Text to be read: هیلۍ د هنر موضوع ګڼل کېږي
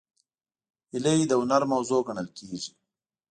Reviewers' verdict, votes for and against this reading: accepted, 2, 0